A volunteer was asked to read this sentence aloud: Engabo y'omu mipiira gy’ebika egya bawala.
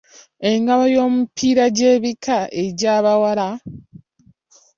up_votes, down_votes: 3, 0